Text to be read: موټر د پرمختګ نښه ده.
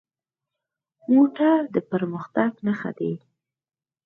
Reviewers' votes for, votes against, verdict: 4, 0, accepted